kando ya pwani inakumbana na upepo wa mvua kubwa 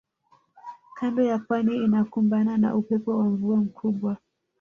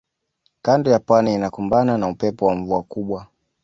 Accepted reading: second